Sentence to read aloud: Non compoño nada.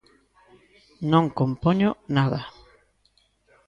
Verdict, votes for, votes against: accepted, 2, 1